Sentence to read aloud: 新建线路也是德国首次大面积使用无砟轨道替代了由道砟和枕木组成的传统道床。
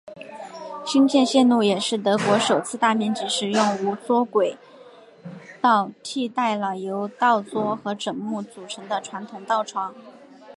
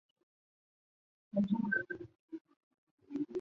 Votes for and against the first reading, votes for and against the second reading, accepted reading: 2, 1, 0, 2, first